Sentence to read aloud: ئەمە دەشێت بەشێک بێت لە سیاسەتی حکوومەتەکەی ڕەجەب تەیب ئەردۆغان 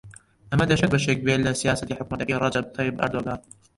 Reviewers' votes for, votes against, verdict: 0, 2, rejected